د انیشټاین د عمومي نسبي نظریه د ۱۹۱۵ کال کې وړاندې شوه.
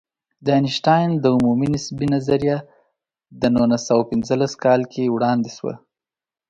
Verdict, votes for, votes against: rejected, 0, 2